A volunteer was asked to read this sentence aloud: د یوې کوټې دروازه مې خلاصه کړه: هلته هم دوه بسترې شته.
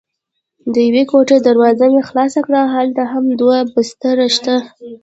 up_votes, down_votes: 0, 2